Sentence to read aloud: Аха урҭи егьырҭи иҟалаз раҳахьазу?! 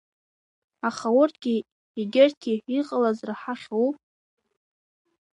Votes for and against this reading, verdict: 1, 2, rejected